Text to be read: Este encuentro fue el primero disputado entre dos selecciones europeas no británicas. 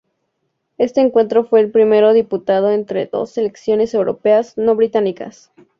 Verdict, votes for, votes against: accepted, 2, 0